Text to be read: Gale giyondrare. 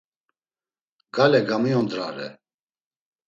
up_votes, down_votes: 0, 2